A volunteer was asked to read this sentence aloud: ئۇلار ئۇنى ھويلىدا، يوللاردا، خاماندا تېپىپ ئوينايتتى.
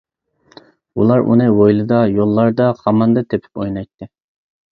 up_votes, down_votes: 2, 0